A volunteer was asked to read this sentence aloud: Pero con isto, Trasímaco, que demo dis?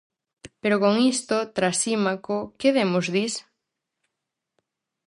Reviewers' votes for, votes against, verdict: 0, 4, rejected